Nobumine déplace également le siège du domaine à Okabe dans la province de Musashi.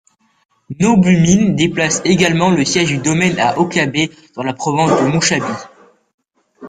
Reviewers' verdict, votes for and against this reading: rejected, 0, 2